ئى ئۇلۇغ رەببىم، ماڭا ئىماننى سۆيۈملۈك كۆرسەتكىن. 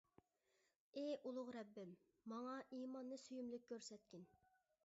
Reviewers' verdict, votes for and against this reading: accepted, 2, 0